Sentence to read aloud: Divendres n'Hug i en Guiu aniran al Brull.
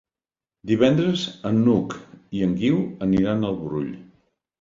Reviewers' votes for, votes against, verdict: 1, 3, rejected